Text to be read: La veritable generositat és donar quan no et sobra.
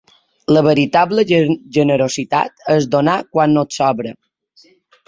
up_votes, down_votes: 0, 2